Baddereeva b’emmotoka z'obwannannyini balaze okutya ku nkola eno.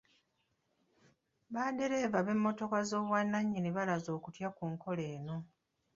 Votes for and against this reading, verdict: 1, 2, rejected